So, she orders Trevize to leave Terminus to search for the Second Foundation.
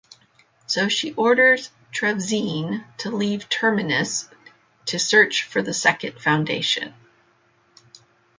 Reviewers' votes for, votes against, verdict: 0, 2, rejected